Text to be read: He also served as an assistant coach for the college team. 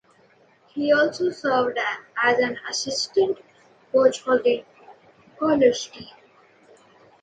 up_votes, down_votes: 2, 1